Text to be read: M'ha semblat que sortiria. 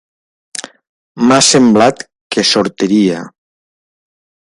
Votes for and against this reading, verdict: 2, 0, accepted